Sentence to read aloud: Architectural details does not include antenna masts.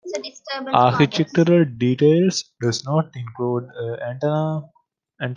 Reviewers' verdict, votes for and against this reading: rejected, 1, 2